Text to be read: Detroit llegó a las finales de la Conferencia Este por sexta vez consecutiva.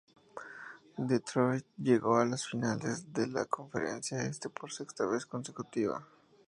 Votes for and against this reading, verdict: 2, 0, accepted